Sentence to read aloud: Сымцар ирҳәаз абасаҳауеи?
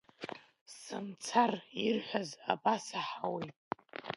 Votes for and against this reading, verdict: 1, 2, rejected